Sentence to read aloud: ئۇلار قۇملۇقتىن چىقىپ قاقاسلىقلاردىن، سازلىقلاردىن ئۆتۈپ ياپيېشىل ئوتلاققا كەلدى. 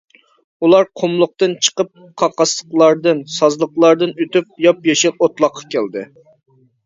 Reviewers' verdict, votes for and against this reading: accepted, 2, 0